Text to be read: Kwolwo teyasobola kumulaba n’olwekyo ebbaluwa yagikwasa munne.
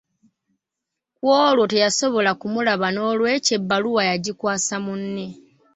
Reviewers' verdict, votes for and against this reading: rejected, 0, 2